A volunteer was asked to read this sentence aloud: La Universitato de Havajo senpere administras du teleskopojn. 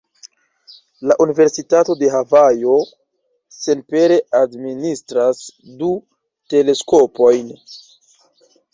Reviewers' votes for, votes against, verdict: 2, 1, accepted